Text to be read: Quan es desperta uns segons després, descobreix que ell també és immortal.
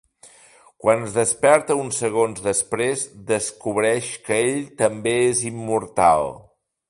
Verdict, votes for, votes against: accepted, 3, 0